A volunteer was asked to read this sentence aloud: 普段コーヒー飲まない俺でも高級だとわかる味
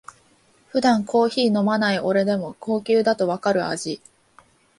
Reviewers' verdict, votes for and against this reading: accepted, 2, 0